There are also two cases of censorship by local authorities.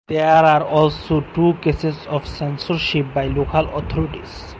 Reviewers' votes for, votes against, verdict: 4, 0, accepted